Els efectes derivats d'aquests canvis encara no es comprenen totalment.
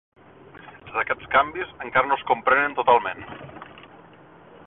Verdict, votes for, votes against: rejected, 0, 2